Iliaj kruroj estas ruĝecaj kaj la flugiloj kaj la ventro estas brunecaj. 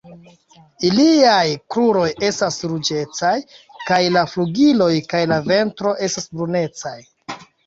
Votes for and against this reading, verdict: 2, 0, accepted